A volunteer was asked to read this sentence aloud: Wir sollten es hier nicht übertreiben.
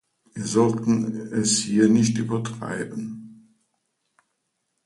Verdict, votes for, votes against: accepted, 2, 0